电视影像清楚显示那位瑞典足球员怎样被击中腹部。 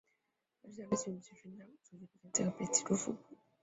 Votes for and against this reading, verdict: 0, 4, rejected